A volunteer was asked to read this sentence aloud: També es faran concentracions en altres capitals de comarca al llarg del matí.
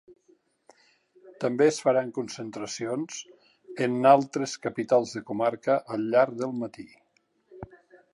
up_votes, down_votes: 2, 0